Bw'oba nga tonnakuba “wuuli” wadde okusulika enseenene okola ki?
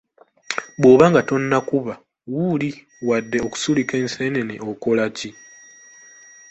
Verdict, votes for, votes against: accepted, 2, 1